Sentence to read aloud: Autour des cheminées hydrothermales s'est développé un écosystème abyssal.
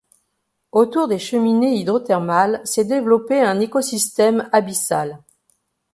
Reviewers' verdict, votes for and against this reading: accepted, 2, 0